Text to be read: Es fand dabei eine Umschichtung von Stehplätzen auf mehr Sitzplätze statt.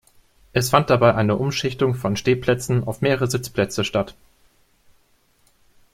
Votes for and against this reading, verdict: 0, 2, rejected